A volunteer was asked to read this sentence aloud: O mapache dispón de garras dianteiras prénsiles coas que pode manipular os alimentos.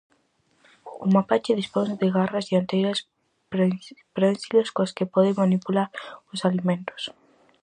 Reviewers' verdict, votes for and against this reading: rejected, 0, 4